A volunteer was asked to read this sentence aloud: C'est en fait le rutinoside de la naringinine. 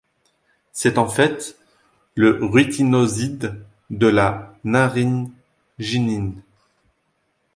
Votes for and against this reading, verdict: 1, 2, rejected